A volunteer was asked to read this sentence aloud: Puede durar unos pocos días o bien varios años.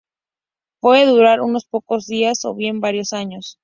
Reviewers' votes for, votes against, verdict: 2, 0, accepted